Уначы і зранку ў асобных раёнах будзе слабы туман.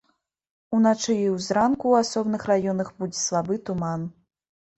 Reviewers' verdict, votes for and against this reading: rejected, 0, 2